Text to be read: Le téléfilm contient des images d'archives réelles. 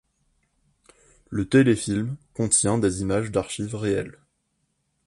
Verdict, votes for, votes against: accepted, 2, 0